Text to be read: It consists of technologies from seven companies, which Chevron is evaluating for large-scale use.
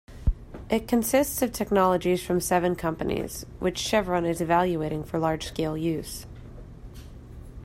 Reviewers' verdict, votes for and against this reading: accepted, 2, 0